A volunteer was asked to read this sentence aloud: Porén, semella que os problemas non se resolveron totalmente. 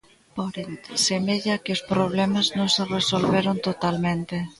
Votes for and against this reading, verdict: 1, 2, rejected